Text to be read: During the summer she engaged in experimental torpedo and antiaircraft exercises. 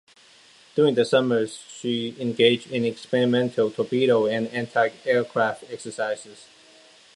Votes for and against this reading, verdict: 2, 1, accepted